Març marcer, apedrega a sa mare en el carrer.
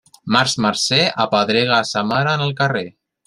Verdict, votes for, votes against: accepted, 2, 0